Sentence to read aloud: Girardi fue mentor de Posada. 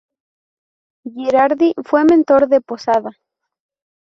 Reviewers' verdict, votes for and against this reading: rejected, 0, 2